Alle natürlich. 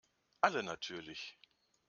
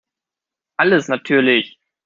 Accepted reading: first